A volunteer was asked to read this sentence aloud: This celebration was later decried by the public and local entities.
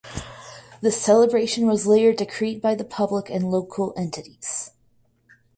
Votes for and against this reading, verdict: 4, 0, accepted